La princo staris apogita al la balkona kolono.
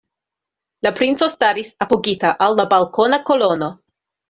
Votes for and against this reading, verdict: 2, 0, accepted